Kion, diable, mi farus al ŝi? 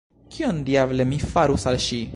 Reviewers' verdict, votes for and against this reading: rejected, 0, 2